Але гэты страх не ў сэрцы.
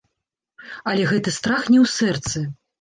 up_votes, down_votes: 2, 0